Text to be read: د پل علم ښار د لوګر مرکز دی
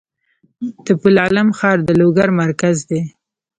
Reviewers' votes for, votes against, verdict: 2, 0, accepted